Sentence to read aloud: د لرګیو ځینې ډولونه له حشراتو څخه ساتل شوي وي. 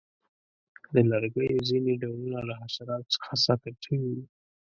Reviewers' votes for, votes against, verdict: 2, 0, accepted